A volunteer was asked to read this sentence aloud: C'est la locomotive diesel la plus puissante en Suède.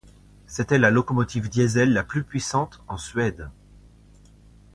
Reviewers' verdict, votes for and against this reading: accepted, 2, 1